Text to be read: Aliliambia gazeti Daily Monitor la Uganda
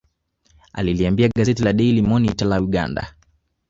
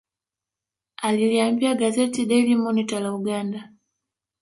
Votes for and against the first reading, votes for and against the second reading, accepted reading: 2, 1, 1, 2, first